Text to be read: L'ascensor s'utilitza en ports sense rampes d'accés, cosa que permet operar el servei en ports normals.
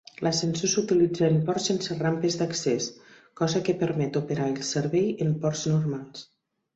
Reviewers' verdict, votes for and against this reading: accepted, 4, 0